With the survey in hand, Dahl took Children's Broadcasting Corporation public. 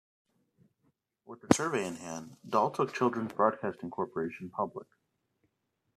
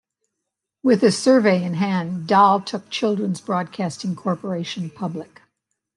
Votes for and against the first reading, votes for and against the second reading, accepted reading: 2, 3, 2, 0, second